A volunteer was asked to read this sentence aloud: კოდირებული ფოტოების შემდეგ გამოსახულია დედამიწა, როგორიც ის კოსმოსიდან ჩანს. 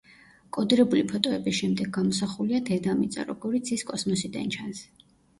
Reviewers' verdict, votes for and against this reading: rejected, 1, 2